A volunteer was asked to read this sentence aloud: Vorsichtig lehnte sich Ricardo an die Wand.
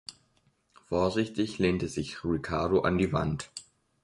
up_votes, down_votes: 2, 0